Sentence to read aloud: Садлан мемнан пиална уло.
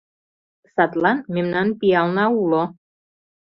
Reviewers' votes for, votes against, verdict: 2, 0, accepted